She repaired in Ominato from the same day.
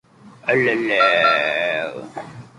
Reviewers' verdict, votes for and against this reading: rejected, 0, 2